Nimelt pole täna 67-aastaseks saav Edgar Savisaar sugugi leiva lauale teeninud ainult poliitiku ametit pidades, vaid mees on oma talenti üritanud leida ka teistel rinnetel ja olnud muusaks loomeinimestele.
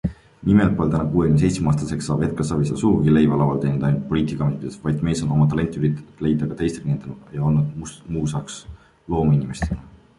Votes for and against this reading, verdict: 0, 2, rejected